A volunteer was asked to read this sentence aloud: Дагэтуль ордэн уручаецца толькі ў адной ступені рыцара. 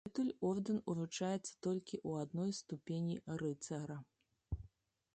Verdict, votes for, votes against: rejected, 1, 2